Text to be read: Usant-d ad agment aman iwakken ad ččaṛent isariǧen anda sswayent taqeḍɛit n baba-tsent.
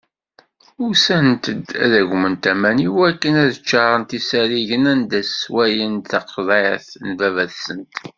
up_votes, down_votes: 2, 0